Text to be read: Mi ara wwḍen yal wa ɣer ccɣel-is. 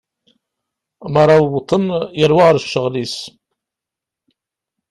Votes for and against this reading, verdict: 1, 2, rejected